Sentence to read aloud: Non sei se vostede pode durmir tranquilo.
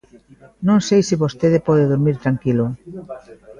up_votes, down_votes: 2, 1